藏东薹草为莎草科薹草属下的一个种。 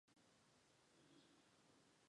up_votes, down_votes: 0, 4